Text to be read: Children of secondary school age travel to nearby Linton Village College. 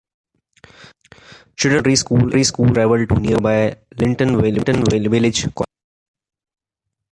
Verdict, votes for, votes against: rejected, 0, 2